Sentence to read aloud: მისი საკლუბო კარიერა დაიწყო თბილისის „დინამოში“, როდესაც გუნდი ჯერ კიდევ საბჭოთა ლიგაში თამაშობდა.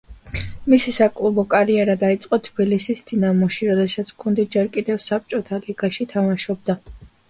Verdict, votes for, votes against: accepted, 2, 1